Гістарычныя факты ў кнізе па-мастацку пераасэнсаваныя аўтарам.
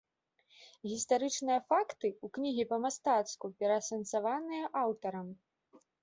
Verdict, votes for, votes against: rejected, 0, 2